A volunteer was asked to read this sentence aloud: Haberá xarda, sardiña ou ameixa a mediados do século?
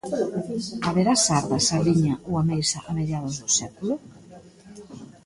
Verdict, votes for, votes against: rejected, 1, 2